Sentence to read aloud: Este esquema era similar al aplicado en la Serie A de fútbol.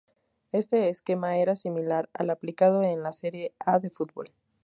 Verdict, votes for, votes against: accepted, 2, 0